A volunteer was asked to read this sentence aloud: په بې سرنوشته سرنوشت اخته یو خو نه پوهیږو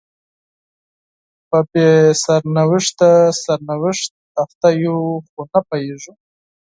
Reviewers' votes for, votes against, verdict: 4, 2, accepted